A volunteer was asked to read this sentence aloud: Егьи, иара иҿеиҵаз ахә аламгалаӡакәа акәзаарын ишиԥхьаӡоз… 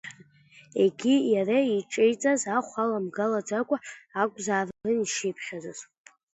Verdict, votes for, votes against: rejected, 0, 2